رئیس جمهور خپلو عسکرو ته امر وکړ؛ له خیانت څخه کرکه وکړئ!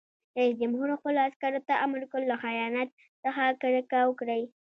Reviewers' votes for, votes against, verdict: 1, 2, rejected